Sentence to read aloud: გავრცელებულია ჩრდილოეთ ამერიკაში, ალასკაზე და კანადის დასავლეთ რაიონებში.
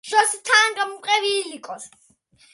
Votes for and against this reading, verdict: 0, 2, rejected